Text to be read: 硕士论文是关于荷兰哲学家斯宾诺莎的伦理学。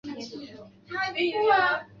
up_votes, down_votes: 2, 5